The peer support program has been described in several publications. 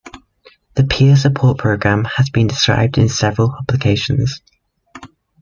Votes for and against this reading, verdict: 2, 1, accepted